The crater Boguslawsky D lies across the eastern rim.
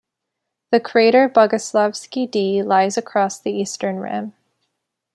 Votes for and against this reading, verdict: 2, 1, accepted